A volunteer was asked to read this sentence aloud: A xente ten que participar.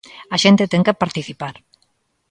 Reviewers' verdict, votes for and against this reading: accepted, 2, 0